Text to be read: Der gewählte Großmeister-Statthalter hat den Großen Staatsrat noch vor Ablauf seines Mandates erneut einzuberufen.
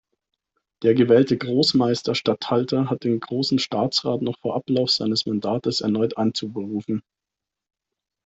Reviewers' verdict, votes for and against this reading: accepted, 2, 0